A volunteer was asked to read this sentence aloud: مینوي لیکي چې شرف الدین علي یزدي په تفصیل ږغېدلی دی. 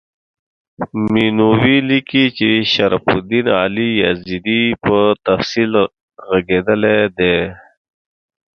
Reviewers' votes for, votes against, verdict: 1, 2, rejected